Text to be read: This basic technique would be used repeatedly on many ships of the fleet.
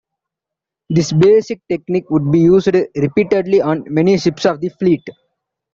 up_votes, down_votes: 1, 2